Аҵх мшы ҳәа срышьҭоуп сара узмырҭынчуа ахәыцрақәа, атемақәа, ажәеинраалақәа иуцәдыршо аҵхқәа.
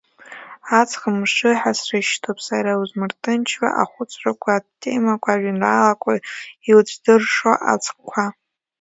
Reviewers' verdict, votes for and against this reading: accepted, 2, 1